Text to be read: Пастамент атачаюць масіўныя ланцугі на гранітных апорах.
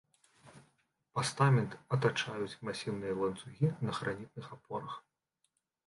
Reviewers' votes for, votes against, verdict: 0, 2, rejected